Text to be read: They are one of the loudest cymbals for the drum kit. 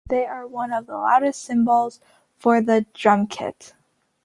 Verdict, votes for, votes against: accepted, 2, 0